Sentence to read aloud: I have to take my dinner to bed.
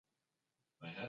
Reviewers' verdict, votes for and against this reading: rejected, 0, 2